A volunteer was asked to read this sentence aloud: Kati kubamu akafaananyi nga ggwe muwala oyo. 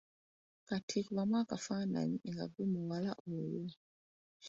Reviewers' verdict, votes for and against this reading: accepted, 2, 0